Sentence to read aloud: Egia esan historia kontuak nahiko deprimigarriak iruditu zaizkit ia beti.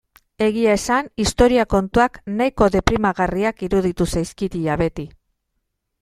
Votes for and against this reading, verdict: 2, 1, accepted